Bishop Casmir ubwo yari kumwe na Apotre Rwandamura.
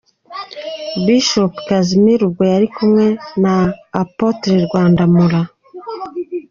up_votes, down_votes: 2, 0